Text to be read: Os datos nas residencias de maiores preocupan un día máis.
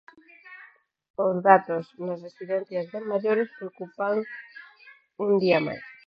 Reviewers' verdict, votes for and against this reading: rejected, 2, 4